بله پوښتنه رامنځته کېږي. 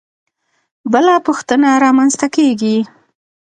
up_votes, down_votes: 2, 0